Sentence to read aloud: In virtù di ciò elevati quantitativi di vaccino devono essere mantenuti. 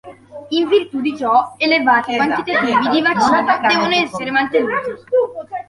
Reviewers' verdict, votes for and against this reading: rejected, 1, 2